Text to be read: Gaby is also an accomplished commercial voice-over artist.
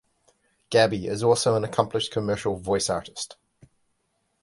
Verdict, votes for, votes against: rejected, 0, 2